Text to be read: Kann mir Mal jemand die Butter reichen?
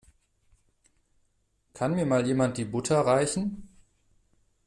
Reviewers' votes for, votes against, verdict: 1, 2, rejected